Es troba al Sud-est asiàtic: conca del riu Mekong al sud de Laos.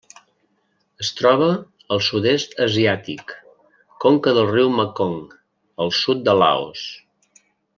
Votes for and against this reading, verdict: 3, 0, accepted